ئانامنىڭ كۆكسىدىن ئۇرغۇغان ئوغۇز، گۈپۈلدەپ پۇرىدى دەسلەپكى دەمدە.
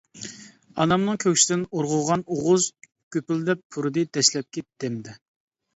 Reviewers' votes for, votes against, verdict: 1, 2, rejected